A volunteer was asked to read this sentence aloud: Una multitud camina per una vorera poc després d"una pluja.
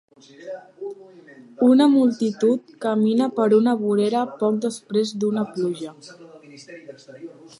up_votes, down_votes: 2, 0